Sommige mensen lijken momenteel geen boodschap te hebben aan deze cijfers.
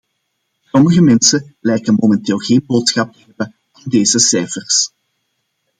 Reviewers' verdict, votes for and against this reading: accepted, 2, 1